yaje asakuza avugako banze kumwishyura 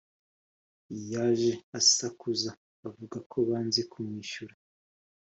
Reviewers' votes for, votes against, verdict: 4, 0, accepted